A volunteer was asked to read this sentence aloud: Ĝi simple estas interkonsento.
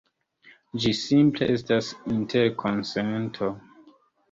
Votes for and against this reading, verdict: 2, 0, accepted